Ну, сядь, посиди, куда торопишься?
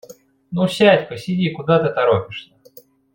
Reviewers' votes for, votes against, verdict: 1, 2, rejected